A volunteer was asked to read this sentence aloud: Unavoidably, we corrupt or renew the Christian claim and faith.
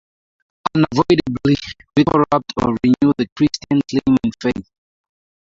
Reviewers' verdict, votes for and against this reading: rejected, 2, 2